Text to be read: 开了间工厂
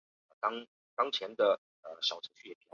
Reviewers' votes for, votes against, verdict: 1, 2, rejected